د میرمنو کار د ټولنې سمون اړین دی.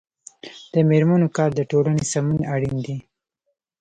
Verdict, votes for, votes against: rejected, 0, 2